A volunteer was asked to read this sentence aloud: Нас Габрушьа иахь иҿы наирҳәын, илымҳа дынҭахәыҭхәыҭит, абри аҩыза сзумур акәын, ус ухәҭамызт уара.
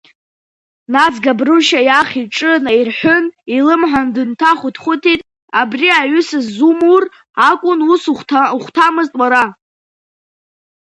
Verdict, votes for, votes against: rejected, 1, 2